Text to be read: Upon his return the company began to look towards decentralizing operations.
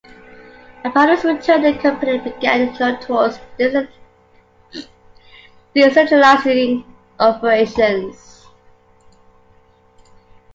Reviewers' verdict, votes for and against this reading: rejected, 0, 2